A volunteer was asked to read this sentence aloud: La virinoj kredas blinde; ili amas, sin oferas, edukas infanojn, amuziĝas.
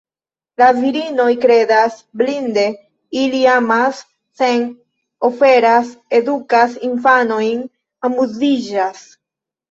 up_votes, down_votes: 1, 2